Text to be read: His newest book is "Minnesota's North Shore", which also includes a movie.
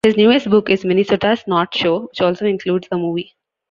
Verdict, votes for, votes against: rejected, 1, 2